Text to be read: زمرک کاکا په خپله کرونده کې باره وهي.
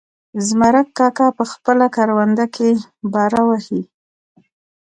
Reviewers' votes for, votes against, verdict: 4, 1, accepted